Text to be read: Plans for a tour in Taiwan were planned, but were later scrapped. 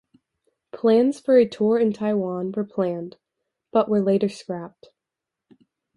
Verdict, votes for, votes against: accepted, 2, 0